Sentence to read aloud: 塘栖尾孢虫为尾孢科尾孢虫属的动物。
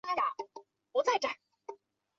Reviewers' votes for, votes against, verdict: 0, 2, rejected